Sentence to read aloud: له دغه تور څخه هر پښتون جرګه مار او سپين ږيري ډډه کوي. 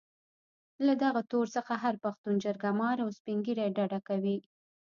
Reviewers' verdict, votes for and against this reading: rejected, 1, 2